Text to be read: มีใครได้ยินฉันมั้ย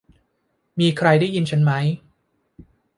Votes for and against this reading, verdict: 2, 0, accepted